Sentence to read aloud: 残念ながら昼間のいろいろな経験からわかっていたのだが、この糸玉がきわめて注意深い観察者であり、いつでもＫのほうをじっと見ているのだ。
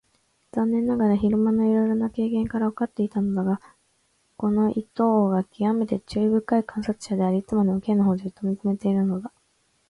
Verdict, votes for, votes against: rejected, 2, 4